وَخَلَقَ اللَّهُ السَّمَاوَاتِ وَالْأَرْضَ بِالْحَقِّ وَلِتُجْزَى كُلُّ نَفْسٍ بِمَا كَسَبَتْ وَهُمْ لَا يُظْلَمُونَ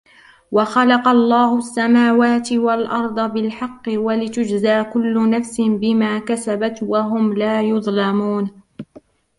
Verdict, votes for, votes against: rejected, 0, 2